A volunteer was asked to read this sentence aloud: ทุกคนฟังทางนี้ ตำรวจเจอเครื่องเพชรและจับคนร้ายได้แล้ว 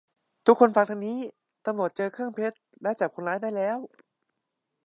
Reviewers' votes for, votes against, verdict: 2, 0, accepted